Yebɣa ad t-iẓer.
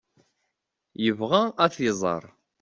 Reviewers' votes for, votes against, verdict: 2, 0, accepted